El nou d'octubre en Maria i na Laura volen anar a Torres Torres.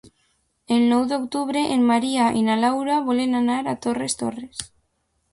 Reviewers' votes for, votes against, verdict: 2, 0, accepted